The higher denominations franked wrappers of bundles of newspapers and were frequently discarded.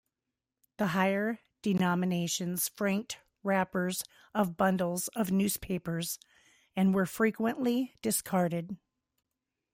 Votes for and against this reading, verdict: 0, 2, rejected